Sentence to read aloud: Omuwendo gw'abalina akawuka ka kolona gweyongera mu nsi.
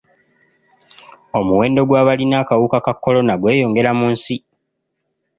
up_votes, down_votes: 2, 0